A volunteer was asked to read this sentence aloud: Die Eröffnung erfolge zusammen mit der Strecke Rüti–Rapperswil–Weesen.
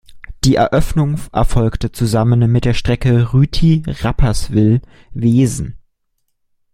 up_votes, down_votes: 1, 2